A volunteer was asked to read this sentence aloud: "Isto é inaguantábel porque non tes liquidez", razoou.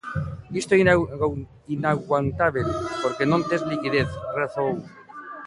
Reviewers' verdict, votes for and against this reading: rejected, 0, 2